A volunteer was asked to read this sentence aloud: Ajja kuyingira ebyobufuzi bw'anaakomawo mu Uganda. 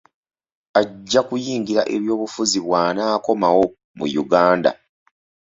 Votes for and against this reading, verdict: 2, 0, accepted